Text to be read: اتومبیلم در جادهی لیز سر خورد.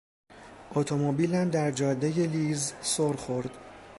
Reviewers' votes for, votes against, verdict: 2, 0, accepted